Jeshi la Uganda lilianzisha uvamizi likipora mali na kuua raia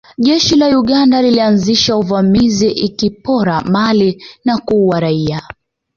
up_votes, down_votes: 2, 0